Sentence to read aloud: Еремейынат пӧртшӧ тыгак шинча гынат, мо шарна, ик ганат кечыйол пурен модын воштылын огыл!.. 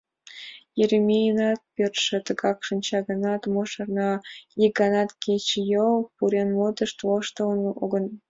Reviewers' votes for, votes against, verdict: 2, 0, accepted